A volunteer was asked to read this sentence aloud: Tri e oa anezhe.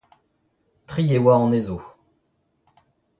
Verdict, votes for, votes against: rejected, 0, 2